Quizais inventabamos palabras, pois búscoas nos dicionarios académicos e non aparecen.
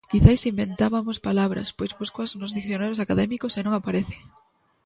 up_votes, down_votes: 1, 2